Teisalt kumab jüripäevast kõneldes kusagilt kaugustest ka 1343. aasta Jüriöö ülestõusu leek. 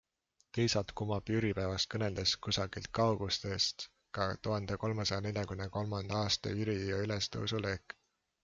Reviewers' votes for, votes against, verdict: 0, 2, rejected